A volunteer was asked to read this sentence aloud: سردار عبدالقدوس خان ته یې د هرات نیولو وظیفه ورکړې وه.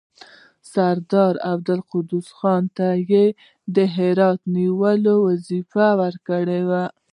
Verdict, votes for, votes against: rejected, 1, 2